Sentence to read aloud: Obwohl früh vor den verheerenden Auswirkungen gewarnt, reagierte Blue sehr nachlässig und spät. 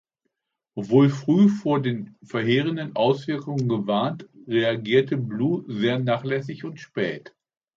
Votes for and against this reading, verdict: 2, 0, accepted